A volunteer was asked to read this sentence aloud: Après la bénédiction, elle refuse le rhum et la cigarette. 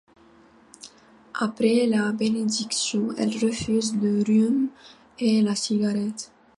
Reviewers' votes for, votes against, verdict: 2, 0, accepted